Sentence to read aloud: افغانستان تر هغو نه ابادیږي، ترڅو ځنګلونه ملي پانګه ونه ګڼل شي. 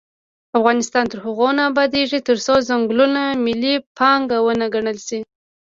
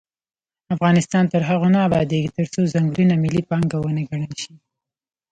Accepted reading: second